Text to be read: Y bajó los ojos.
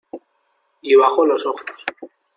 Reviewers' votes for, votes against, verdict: 2, 0, accepted